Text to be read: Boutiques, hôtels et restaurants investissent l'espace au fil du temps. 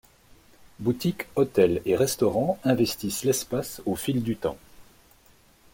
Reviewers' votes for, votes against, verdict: 2, 0, accepted